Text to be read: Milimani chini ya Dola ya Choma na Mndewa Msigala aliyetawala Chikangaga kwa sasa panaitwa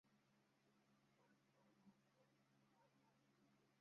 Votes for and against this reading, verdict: 0, 2, rejected